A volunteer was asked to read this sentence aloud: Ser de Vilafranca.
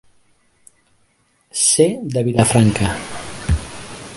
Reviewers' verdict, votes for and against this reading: accepted, 2, 0